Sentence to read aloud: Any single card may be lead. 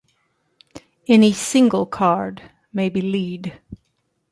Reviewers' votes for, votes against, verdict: 2, 0, accepted